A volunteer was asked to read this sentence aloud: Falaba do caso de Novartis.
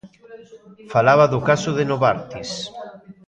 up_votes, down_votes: 2, 0